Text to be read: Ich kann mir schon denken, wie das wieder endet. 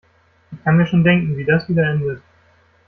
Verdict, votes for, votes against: rejected, 0, 2